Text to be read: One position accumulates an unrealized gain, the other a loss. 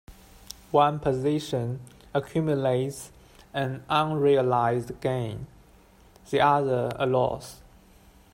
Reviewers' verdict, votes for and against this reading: accepted, 2, 1